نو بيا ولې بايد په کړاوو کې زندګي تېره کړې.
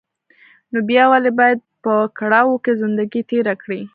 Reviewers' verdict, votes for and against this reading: accepted, 2, 1